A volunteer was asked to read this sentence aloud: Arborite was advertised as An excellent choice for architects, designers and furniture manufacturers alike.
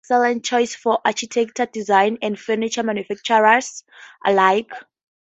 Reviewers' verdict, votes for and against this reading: rejected, 0, 2